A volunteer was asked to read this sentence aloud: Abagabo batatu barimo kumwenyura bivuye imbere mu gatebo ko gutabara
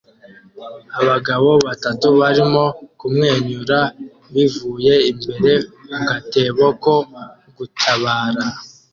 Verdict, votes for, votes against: accepted, 2, 0